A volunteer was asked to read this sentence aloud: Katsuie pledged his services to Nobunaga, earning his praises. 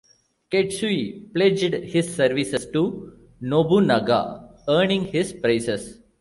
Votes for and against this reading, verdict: 1, 2, rejected